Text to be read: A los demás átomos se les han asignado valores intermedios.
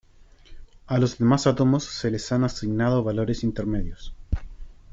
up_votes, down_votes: 1, 2